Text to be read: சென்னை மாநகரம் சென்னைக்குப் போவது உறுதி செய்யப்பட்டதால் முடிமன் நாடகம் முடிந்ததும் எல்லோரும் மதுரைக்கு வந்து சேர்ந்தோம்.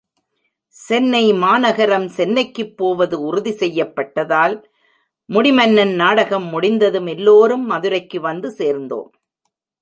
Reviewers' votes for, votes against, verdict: 0, 2, rejected